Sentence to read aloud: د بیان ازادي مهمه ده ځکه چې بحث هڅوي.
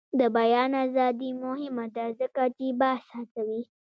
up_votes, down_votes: 0, 2